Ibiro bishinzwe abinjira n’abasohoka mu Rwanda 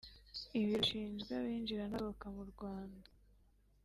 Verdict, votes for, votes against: accepted, 3, 0